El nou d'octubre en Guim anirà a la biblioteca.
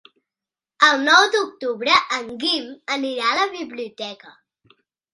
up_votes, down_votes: 3, 0